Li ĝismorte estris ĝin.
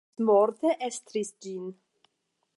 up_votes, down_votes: 5, 10